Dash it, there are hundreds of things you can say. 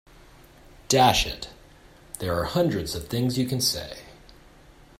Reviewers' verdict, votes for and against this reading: accepted, 2, 0